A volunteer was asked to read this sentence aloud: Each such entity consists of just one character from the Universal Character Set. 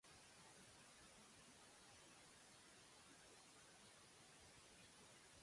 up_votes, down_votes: 0, 2